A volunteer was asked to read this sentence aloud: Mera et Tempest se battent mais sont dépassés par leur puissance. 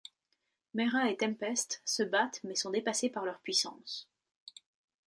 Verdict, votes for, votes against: accepted, 2, 0